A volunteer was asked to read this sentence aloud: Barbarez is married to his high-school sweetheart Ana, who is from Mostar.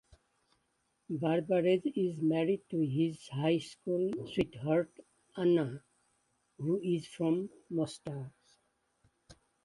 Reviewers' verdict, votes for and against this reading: accepted, 2, 0